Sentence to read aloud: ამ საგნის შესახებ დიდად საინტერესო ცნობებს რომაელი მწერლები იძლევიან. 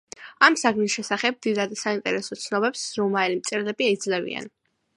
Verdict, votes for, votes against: accepted, 2, 0